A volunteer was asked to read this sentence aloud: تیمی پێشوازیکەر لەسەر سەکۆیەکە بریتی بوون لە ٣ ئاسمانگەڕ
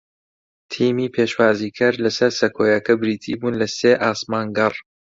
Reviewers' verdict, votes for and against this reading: rejected, 0, 2